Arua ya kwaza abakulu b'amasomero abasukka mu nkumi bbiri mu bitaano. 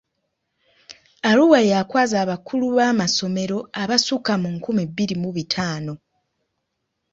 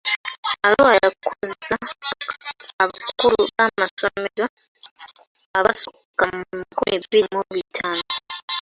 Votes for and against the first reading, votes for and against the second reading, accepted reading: 2, 1, 0, 2, first